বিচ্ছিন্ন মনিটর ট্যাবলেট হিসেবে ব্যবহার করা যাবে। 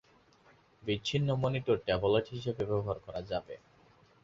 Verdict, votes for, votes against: accepted, 12, 2